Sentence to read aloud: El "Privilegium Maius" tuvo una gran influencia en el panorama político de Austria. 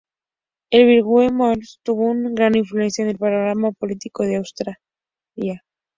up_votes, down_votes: 0, 2